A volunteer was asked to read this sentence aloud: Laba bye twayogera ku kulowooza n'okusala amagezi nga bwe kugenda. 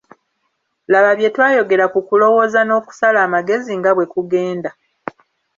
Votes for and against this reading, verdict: 2, 0, accepted